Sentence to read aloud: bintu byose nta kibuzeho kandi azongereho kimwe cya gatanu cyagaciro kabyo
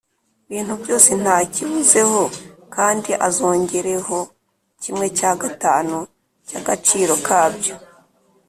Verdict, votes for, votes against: accepted, 4, 0